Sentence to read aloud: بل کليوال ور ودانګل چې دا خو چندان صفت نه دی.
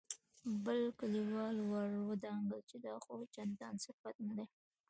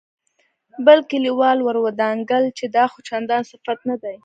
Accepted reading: second